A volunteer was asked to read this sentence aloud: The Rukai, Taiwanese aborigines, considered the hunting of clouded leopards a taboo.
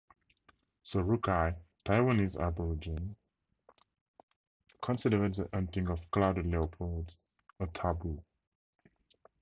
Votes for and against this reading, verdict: 4, 2, accepted